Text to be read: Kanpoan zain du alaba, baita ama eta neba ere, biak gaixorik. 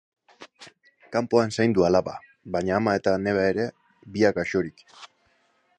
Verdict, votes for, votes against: rejected, 0, 2